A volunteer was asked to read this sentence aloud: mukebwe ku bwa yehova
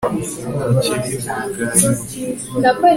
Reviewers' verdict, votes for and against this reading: rejected, 1, 2